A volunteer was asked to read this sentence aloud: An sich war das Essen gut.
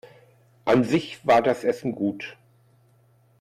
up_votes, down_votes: 2, 0